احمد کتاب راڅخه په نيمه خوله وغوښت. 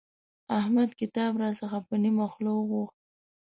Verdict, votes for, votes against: accepted, 2, 0